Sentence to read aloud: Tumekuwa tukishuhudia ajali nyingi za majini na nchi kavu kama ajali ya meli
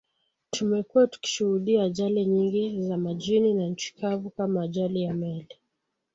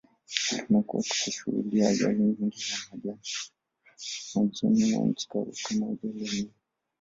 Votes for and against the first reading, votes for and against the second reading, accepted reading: 2, 0, 0, 2, first